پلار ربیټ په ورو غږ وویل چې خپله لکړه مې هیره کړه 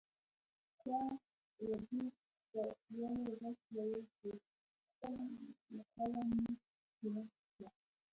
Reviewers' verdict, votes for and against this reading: rejected, 1, 2